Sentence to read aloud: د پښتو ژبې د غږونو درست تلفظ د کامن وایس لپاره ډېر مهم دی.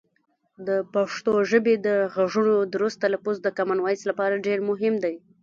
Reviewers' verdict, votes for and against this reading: rejected, 1, 2